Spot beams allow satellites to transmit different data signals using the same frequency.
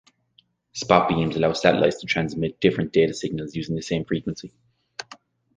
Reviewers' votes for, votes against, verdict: 2, 0, accepted